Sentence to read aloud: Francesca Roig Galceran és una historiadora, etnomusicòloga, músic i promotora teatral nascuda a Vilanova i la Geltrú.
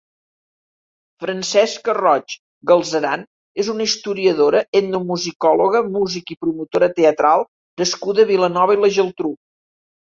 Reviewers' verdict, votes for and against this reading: accepted, 2, 0